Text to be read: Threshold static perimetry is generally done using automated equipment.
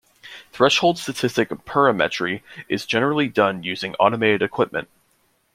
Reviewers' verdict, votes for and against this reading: rejected, 1, 2